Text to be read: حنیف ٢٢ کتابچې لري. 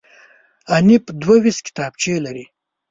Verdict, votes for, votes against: rejected, 0, 2